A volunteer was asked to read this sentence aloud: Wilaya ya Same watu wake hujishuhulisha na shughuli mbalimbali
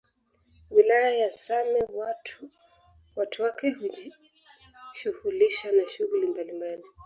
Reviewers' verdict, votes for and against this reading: rejected, 0, 2